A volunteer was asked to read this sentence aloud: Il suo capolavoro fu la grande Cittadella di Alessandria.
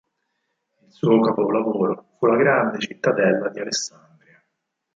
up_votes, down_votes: 0, 4